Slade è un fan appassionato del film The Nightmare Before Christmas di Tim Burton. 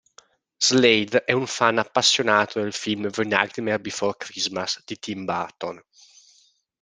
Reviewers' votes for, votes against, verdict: 2, 0, accepted